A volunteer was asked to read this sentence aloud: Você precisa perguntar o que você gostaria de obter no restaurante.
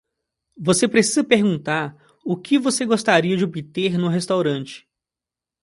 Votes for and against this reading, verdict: 2, 0, accepted